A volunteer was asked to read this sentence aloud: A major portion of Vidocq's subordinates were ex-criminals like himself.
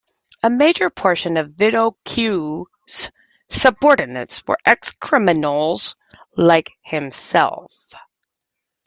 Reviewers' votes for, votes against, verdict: 1, 2, rejected